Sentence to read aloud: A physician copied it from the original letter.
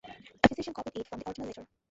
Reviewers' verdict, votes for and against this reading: rejected, 1, 2